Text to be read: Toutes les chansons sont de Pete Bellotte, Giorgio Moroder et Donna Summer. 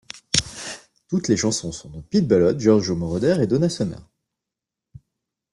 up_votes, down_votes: 2, 0